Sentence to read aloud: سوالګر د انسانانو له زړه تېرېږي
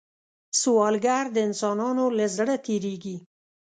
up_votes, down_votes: 2, 0